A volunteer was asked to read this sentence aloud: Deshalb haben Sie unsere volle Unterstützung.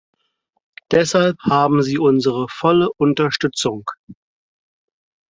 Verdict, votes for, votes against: accepted, 4, 0